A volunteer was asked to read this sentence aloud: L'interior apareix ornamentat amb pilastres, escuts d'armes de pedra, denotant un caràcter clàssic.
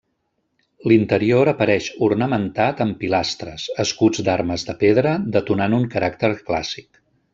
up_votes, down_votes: 1, 2